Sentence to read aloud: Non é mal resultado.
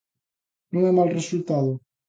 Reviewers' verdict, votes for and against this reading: accepted, 2, 1